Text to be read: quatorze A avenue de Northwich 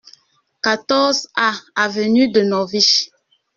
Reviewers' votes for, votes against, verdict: 1, 2, rejected